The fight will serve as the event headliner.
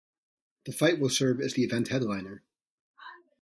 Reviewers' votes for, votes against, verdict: 2, 0, accepted